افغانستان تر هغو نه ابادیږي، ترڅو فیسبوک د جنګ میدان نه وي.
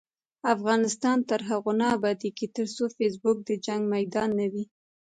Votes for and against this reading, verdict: 1, 2, rejected